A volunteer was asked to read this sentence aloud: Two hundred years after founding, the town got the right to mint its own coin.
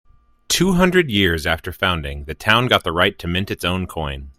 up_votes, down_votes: 2, 0